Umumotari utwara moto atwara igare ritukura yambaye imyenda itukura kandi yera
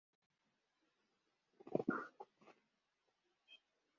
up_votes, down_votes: 0, 2